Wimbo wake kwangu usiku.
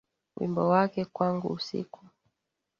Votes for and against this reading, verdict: 2, 0, accepted